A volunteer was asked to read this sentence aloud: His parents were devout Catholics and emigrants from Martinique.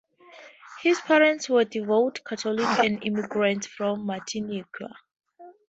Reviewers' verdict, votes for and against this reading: rejected, 0, 2